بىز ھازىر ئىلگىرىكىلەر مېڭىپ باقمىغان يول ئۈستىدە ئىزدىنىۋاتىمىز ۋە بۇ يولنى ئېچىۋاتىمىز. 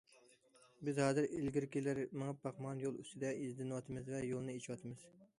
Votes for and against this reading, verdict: 1, 2, rejected